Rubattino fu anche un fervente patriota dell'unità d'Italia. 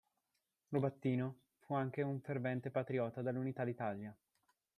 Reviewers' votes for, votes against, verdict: 1, 2, rejected